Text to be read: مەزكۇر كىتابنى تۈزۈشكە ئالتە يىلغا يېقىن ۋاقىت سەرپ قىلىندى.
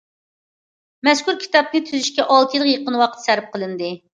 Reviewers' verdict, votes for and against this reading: accepted, 2, 0